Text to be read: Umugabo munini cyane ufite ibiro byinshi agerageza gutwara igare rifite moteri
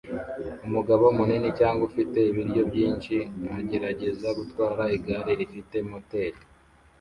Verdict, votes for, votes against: rejected, 1, 2